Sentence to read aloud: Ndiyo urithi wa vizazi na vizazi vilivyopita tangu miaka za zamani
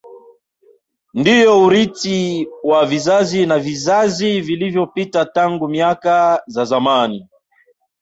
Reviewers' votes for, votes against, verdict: 2, 0, accepted